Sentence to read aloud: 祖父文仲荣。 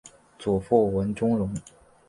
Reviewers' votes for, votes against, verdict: 5, 0, accepted